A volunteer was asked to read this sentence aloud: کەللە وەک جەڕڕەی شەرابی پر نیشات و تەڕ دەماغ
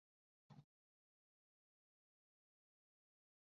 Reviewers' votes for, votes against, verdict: 0, 2, rejected